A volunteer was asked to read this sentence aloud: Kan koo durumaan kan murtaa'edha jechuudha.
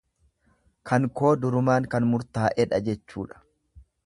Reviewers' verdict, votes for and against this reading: accepted, 2, 0